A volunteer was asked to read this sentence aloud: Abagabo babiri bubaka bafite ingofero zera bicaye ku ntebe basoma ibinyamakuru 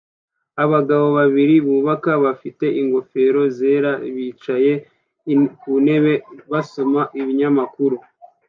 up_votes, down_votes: 2, 0